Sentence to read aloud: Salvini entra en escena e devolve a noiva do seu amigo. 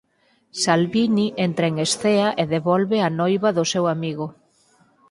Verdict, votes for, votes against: rejected, 2, 4